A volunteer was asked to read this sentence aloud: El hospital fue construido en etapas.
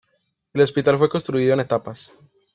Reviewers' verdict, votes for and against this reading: accepted, 2, 0